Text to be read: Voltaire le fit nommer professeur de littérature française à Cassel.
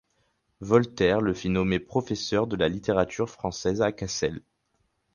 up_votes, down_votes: 0, 4